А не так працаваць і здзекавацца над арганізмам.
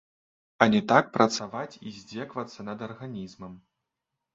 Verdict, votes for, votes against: rejected, 1, 2